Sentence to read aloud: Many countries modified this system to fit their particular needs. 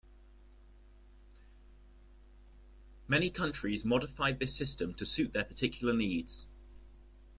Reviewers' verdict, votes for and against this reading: rejected, 0, 2